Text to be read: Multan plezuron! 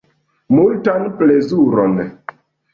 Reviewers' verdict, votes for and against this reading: rejected, 1, 2